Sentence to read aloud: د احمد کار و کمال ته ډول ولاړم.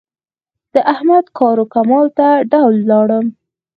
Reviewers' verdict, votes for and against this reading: accepted, 4, 0